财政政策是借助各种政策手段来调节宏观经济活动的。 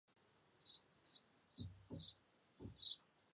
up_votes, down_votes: 0, 2